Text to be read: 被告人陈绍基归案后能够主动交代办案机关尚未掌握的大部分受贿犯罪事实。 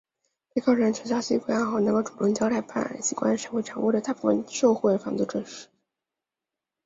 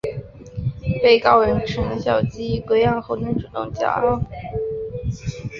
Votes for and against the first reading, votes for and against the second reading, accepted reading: 3, 1, 0, 2, first